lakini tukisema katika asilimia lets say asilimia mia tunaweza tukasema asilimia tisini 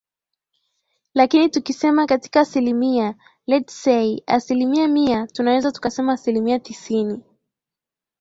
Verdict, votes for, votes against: accepted, 2, 0